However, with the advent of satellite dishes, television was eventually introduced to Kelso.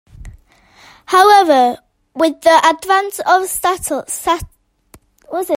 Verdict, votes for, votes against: rejected, 0, 2